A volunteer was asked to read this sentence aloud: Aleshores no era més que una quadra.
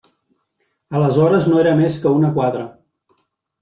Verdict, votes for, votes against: rejected, 1, 2